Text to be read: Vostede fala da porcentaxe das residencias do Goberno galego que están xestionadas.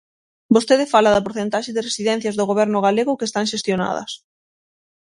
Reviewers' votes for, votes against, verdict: 0, 6, rejected